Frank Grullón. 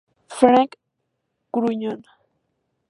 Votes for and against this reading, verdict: 2, 0, accepted